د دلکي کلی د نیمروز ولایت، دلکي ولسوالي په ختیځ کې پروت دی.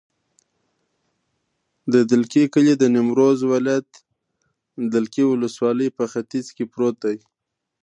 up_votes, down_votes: 2, 1